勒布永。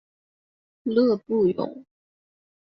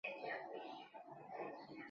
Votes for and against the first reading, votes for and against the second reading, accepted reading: 2, 0, 0, 2, first